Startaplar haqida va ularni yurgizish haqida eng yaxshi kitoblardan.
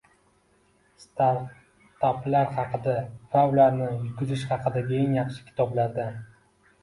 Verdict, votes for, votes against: accepted, 2, 0